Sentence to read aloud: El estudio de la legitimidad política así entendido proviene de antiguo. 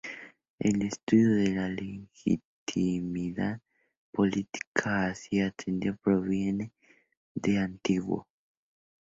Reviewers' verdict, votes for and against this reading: rejected, 0, 2